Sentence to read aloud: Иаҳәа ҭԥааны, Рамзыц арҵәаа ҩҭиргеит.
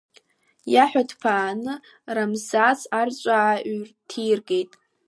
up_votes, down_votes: 2, 0